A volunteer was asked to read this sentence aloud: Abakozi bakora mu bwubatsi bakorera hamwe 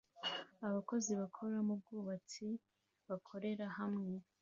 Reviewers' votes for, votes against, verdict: 2, 0, accepted